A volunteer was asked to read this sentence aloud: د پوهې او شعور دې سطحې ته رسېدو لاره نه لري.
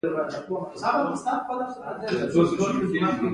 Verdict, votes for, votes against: rejected, 1, 2